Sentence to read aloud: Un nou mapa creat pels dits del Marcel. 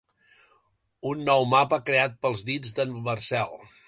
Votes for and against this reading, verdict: 2, 1, accepted